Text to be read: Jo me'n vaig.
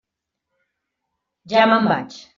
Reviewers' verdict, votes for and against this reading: rejected, 1, 2